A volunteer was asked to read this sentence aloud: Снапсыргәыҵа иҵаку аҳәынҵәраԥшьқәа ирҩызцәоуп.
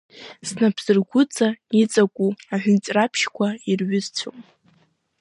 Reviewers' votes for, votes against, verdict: 3, 0, accepted